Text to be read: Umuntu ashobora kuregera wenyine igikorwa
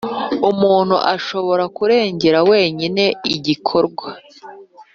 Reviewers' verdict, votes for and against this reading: accepted, 2, 0